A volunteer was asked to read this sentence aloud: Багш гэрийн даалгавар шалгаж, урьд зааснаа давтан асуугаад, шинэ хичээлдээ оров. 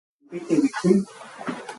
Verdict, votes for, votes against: rejected, 0, 4